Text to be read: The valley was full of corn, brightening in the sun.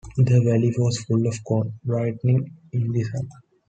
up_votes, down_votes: 2, 0